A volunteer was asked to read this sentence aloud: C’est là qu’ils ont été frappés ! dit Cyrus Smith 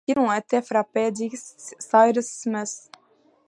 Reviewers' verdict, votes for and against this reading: rejected, 1, 2